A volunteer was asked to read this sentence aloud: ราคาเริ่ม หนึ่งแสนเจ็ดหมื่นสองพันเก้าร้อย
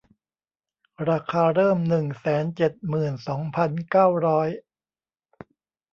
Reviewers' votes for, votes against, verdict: 2, 0, accepted